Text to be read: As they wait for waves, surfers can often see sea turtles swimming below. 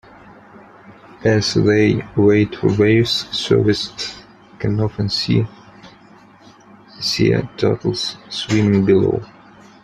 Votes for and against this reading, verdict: 0, 3, rejected